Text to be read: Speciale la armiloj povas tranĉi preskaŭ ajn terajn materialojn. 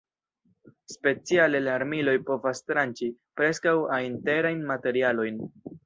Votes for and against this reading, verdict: 1, 2, rejected